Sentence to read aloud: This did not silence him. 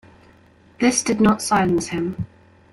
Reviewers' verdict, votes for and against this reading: accepted, 2, 1